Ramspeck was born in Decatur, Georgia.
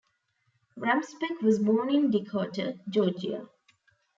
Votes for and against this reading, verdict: 0, 2, rejected